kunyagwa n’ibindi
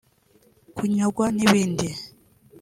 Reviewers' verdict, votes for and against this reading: accepted, 2, 0